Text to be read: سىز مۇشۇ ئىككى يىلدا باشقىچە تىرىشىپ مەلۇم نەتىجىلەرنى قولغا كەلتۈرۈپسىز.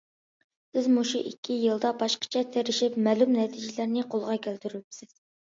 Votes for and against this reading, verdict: 2, 0, accepted